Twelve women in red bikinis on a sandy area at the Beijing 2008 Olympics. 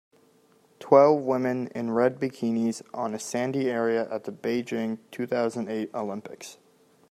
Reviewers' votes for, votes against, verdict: 0, 2, rejected